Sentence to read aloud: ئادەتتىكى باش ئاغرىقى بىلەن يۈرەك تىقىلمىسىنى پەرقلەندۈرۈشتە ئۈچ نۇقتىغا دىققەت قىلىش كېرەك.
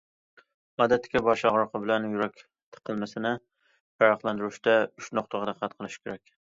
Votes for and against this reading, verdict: 2, 0, accepted